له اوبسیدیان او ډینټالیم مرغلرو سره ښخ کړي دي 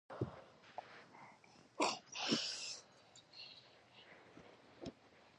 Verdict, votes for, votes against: rejected, 0, 2